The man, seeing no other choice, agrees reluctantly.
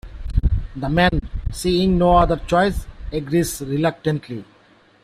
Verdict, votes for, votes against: accepted, 2, 1